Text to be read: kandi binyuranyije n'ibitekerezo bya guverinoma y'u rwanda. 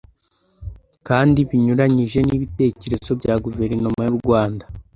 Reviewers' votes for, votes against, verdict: 2, 0, accepted